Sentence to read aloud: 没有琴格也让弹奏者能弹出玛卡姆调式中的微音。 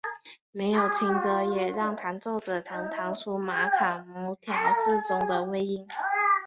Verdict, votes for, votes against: accepted, 5, 0